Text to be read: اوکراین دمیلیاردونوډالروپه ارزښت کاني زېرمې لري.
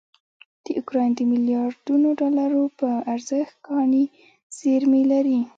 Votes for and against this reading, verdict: 1, 2, rejected